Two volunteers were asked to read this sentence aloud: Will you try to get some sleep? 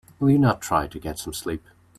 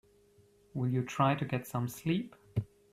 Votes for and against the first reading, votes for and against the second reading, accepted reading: 0, 2, 3, 0, second